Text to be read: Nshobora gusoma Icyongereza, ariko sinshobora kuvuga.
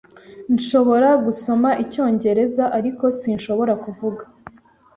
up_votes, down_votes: 2, 0